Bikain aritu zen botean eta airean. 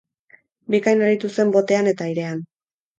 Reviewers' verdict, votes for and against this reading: accepted, 4, 0